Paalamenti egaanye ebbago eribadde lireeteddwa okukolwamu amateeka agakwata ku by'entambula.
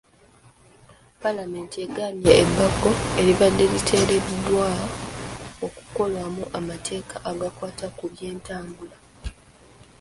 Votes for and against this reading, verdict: 1, 2, rejected